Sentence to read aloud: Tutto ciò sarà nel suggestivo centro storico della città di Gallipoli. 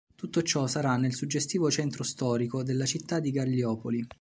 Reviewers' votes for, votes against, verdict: 0, 3, rejected